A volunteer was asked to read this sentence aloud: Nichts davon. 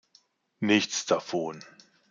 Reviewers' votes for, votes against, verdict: 2, 0, accepted